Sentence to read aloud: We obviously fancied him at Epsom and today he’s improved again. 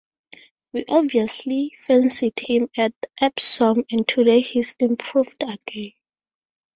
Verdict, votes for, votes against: rejected, 2, 2